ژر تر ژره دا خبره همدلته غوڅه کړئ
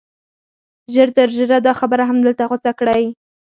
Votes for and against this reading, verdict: 4, 2, accepted